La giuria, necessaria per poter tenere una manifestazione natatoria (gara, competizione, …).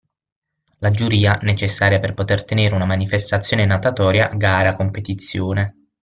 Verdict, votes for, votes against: accepted, 6, 0